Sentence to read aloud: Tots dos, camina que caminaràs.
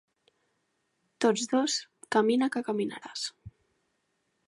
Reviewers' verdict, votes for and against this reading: accepted, 3, 0